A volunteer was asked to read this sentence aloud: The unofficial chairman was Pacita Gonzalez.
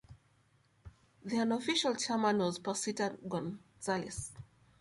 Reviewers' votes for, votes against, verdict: 2, 0, accepted